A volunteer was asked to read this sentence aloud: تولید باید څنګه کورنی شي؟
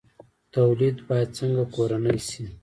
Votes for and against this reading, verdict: 1, 2, rejected